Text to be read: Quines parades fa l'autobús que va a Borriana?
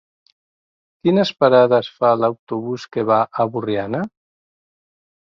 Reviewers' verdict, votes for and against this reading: accepted, 2, 1